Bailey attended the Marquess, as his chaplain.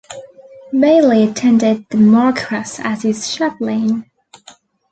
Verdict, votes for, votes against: rejected, 1, 2